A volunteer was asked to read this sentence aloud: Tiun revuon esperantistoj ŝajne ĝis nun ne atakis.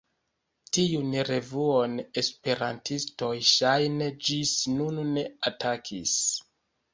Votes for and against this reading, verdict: 2, 0, accepted